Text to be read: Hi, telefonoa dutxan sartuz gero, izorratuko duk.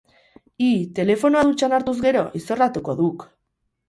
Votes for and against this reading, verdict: 0, 2, rejected